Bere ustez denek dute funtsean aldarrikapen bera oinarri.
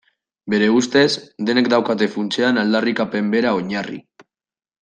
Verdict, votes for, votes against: rejected, 0, 2